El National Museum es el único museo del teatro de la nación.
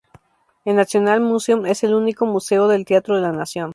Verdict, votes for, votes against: accepted, 2, 0